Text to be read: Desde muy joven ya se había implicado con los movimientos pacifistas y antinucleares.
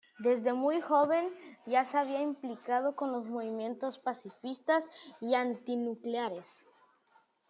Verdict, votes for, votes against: accepted, 2, 0